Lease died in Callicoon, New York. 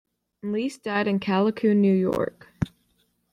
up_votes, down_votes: 2, 0